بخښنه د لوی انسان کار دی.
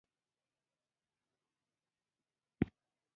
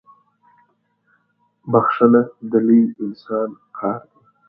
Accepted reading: second